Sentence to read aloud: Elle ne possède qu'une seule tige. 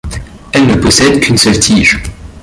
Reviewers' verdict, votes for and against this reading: rejected, 1, 2